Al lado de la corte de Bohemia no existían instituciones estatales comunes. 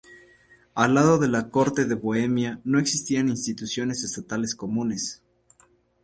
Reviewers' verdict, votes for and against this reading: accepted, 2, 0